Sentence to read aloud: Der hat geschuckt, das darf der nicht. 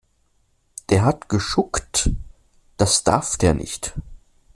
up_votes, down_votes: 2, 0